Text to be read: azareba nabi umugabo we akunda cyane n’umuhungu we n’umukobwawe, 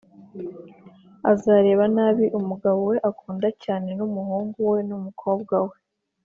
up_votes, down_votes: 2, 0